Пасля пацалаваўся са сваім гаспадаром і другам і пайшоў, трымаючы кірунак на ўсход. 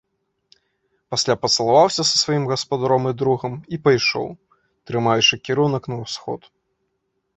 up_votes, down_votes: 2, 0